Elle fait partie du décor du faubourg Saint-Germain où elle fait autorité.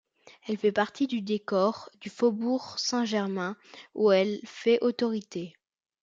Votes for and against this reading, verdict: 2, 0, accepted